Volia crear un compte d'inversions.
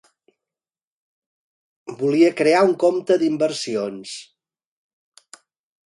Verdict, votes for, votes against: accepted, 4, 0